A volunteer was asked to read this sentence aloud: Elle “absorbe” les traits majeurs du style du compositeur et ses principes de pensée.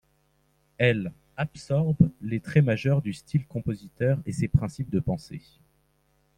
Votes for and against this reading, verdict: 1, 2, rejected